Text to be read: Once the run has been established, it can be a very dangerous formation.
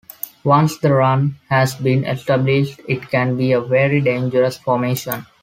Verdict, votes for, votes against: accepted, 2, 1